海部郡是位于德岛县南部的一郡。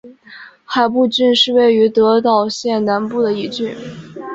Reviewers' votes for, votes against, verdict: 5, 0, accepted